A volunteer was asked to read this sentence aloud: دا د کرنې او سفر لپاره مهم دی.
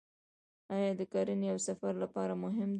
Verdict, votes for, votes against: rejected, 0, 2